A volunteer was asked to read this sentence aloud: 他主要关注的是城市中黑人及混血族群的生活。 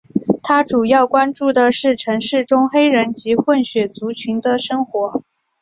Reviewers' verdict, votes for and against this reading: accepted, 6, 0